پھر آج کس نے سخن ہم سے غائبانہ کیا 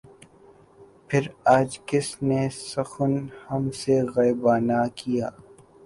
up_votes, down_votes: 2, 0